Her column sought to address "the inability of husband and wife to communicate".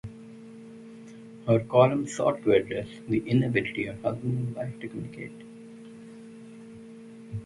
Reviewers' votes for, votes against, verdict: 2, 4, rejected